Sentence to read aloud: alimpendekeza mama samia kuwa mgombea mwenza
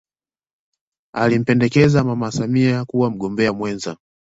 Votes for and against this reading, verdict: 2, 0, accepted